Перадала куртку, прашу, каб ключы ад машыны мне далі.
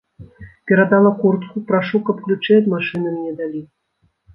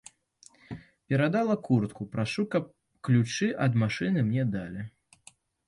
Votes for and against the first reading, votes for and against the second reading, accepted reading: 2, 0, 1, 2, first